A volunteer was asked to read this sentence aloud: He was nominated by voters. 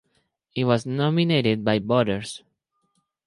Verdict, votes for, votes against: accepted, 4, 2